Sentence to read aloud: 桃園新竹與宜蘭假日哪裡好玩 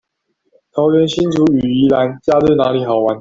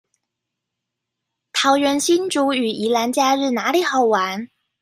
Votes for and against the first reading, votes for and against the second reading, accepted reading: 0, 2, 2, 0, second